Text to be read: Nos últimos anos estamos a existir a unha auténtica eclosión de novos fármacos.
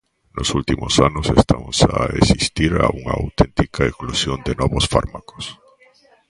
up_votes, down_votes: 1, 2